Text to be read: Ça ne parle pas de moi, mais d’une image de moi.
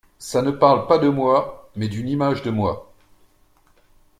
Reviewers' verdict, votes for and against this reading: accepted, 2, 0